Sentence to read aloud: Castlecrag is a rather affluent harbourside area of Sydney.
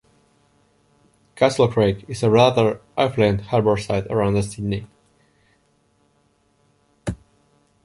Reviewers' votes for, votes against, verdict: 0, 4, rejected